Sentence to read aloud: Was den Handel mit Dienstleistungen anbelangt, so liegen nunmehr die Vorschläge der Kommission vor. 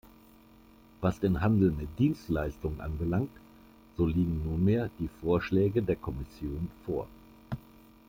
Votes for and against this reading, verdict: 2, 0, accepted